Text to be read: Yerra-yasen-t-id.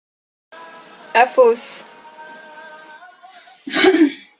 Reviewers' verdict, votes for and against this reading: rejected, 0, 2